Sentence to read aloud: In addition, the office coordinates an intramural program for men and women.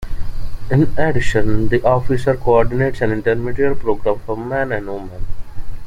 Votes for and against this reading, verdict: 0, 2, rejected